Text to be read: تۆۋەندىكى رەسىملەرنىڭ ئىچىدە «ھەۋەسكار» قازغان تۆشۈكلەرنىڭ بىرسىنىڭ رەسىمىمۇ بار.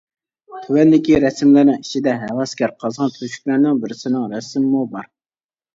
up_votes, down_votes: 1, 2